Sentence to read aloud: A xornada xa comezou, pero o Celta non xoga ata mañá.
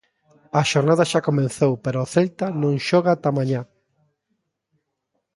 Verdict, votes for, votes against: rejected, 1, 2